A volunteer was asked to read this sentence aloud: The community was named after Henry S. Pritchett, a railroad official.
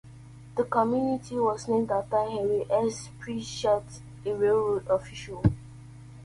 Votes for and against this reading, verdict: 2, 0, accepted